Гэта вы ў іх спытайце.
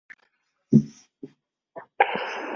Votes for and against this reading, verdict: 0, 2, rejected